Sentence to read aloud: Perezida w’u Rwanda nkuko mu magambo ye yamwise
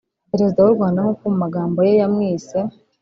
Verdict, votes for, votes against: rejected, 1, 2